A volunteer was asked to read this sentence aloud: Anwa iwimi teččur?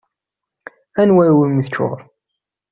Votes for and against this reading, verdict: 2, 0, accepted